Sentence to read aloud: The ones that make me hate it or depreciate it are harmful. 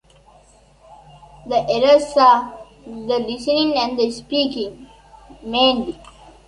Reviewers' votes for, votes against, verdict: 0, 2, rejected